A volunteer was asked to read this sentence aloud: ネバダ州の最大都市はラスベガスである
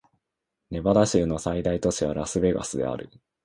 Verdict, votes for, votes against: accepted, 2, 0